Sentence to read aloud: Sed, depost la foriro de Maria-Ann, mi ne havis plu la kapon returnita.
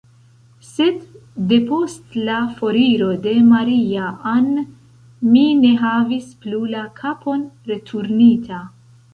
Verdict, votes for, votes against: accepted, 2, 1